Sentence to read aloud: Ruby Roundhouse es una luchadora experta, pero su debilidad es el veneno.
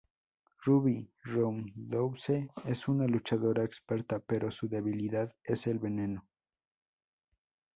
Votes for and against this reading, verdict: 0, 2, rejected